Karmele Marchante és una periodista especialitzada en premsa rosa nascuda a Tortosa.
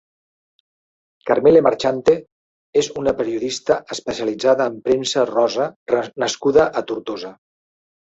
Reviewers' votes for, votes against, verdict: 0, 2, rejected